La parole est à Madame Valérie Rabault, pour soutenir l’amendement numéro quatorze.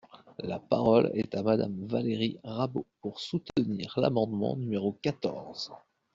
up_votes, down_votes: 2, 0